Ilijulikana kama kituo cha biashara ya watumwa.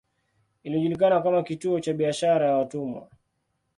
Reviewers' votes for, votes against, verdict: 2, 0, accepted